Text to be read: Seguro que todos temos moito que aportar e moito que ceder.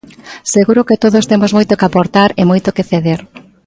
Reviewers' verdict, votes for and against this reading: accepted, 3, 0